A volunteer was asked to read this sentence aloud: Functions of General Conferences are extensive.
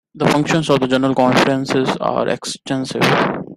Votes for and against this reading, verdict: 2, 1, accepted